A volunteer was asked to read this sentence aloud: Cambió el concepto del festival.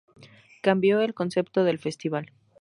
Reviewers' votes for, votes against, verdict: 2, 2, rejected